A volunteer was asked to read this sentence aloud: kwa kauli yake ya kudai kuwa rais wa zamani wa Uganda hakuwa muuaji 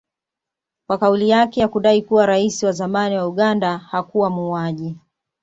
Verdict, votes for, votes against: accepted, 2, 0